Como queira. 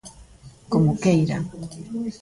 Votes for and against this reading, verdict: 2, 0, accepted